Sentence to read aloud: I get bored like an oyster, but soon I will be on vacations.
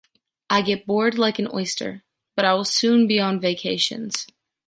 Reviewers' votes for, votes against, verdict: 0, 3, rejected